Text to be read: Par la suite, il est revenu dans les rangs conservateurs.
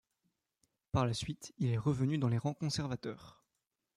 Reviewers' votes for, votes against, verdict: 2, 1, accepted